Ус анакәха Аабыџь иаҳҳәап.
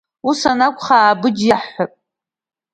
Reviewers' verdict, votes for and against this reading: accepted, 2, 0